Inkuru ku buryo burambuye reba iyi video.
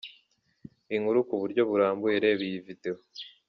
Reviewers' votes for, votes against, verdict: 2, 0, accepted